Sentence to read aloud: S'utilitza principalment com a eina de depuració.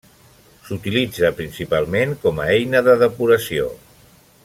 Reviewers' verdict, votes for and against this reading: accepted, 3, 0